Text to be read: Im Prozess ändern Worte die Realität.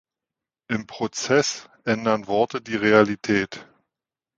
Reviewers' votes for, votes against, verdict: 2, 0, accepted